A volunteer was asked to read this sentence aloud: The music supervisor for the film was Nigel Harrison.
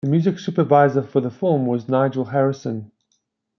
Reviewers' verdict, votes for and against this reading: rejected, 1, 2